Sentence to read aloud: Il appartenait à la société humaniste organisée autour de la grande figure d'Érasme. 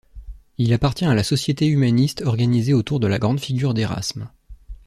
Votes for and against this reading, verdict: 0, 2, rejected